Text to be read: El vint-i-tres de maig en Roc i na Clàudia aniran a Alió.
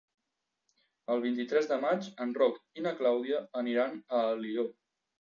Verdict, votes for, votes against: accepted, 2, 0